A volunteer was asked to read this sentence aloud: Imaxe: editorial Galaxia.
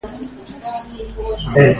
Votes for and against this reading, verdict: 0, 2, rejected